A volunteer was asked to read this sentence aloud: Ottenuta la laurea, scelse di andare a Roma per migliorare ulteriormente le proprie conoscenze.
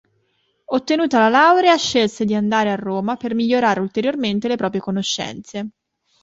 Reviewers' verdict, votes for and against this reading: accepted, 2, 0